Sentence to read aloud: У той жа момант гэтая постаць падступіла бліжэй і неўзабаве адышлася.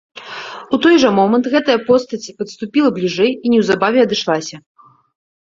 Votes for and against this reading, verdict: 2, 0, accepted